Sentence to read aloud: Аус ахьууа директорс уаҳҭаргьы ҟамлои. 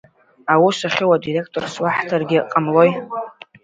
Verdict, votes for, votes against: accepted, 2, 0